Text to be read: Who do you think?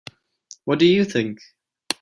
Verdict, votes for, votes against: rejected, 0, 2